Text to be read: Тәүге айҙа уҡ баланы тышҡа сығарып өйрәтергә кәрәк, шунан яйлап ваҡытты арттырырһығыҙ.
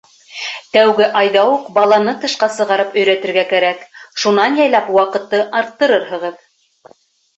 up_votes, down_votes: 3, 0